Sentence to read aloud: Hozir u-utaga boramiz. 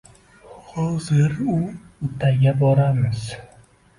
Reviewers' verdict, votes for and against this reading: rejected, 0, 2